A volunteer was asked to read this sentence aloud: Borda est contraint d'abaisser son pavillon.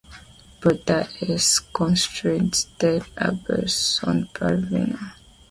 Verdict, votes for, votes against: rejected, 1, 2